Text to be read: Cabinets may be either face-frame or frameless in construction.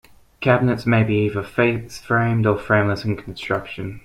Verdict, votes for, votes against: accepted, 2, 0